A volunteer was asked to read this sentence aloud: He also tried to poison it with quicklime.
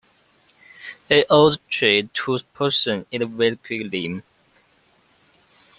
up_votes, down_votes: 0, 2